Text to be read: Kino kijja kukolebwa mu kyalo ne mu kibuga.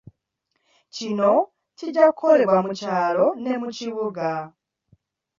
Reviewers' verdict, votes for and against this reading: accepted, 2, 0